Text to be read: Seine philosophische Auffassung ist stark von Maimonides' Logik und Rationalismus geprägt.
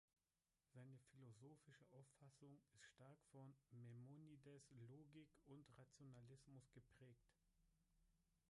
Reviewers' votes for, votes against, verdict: 1, 2, rejected